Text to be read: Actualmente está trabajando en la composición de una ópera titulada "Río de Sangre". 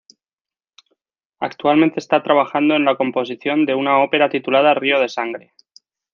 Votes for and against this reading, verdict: 2, 0, accepted